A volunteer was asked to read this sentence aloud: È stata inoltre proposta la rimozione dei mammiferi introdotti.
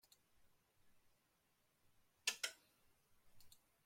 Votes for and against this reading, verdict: 0, 2, rejected